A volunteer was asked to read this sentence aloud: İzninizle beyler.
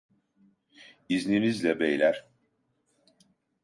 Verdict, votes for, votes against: accepted, 2, 0